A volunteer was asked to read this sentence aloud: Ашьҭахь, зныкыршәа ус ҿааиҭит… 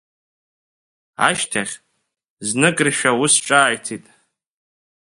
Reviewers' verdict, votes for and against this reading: accepted, 2, 0